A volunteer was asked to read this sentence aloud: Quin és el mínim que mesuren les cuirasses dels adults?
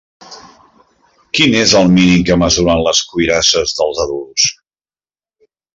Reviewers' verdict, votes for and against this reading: accepted, 2, 0